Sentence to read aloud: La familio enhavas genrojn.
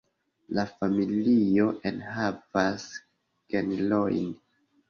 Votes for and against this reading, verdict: 0, 2, rejected